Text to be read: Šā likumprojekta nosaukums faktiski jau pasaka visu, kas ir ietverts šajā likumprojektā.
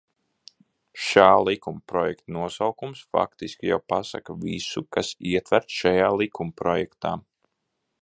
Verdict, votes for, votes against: rejected, 0, 2